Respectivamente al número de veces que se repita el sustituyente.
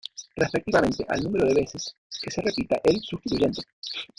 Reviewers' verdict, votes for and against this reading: rejected, 0, 2